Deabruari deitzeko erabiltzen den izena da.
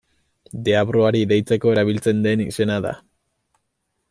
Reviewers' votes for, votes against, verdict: 2, 0, accepted